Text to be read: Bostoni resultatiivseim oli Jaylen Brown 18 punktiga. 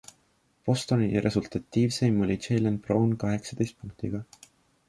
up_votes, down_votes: 0, 2